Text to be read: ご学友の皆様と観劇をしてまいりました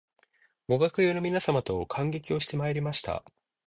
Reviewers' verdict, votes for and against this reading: accepted, 2, 0